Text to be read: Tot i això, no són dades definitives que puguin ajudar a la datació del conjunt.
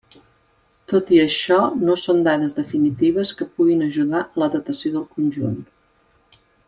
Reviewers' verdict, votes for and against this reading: rejected, 1, 2